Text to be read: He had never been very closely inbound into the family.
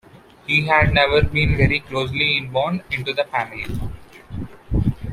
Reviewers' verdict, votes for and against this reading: accepted, 2, 0